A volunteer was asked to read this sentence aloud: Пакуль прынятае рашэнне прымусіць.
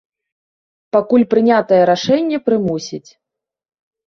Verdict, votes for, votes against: accepted, 2, 0